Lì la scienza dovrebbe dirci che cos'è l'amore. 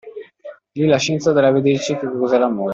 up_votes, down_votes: 1, 2